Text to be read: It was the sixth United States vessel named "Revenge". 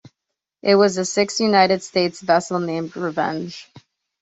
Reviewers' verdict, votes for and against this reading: accepted, 2, 0